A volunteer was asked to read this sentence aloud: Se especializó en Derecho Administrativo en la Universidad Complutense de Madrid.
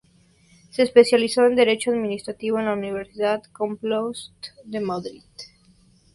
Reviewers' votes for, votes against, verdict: 0, 2, rejected